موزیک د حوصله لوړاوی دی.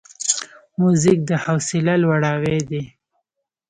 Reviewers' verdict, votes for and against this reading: accepted, 3, 1